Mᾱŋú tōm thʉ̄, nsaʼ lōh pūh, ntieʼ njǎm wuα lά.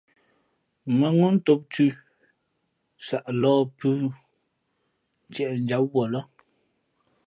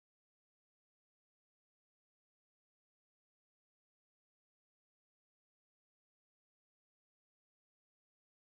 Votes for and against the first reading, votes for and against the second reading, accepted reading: 2, 0, 0, 2, first